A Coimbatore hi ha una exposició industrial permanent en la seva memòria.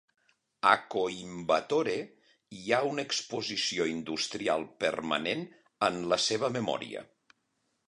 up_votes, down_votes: 2, 0